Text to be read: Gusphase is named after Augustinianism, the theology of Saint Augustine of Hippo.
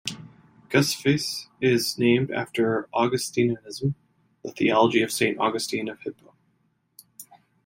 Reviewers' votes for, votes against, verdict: 2, 0, accepted